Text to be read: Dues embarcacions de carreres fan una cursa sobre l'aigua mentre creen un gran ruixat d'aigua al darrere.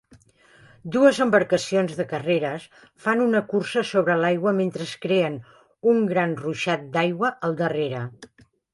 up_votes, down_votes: 0, 3